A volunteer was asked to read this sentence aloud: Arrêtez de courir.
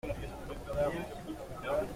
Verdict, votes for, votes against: rejected, 0, 2